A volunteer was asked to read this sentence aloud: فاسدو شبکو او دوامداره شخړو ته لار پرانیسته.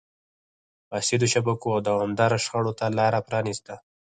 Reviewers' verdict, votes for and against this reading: accepted, 4, 2